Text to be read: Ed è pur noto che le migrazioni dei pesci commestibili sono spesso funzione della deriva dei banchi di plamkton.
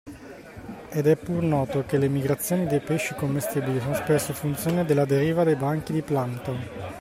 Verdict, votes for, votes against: accepted, 2, 0